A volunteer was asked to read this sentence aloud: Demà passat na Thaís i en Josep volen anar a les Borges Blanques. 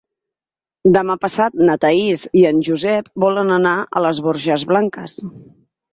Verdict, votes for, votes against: accepted, 8, 0